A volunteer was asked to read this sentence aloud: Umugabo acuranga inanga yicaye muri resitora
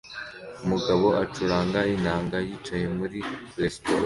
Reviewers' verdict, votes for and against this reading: accepted, 2, 1